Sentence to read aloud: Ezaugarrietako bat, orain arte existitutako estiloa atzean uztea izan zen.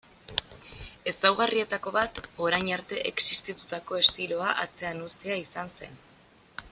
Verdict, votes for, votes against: accepted, 2, 0